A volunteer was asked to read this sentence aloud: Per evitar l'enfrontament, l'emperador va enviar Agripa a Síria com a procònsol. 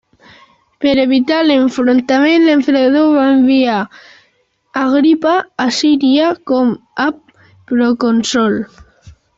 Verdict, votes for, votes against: rejected, 0, 2